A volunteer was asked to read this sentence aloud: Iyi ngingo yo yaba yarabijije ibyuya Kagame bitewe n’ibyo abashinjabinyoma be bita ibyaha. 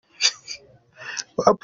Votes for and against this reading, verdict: 0, 2, rejected